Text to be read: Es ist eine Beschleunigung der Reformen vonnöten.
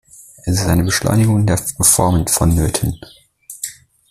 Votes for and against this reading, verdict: 1, 2, rejected